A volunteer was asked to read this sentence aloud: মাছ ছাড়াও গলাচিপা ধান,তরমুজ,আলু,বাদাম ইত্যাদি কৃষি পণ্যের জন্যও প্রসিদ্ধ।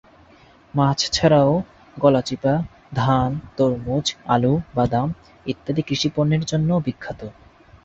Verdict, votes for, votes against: rejected, 0, 2